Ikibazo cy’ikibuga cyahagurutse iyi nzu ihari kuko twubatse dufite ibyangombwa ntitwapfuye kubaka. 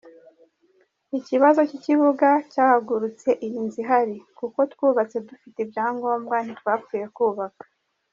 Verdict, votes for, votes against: accepted, 2, 0